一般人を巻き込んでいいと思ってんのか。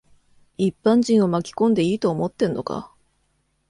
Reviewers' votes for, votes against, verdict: 2, 0, accepted